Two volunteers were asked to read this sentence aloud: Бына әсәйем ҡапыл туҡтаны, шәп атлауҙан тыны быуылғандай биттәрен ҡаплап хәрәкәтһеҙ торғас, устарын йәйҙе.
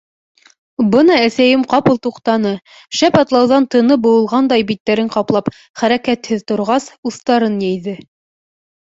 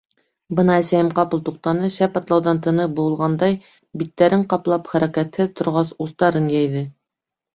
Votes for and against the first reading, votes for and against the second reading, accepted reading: 2, 0, 1, 2, first